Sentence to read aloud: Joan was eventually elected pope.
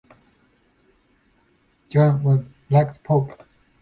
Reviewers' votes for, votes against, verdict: 0, 2, rejected